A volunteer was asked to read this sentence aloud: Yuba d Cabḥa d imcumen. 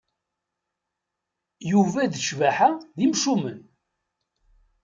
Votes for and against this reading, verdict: 1, 2, rejected